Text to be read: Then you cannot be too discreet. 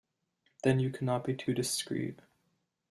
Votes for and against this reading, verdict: 2, 0, accepted